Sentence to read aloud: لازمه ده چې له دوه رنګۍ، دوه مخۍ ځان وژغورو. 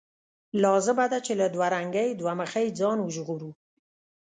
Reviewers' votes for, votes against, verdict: 2, 0, accepted